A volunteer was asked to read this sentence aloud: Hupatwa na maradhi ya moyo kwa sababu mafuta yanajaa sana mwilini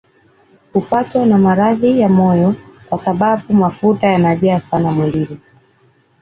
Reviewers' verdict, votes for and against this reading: accepted, 2, 0